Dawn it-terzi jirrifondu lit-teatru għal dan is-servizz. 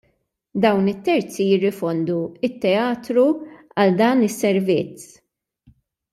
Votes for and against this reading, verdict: 1, 2, rejected